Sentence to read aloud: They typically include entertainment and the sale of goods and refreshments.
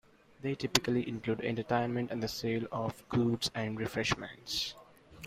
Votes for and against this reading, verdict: 2, 0, accepted